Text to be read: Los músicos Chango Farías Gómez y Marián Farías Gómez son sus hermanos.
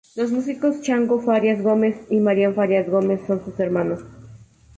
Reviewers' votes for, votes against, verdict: 2, 0, accepted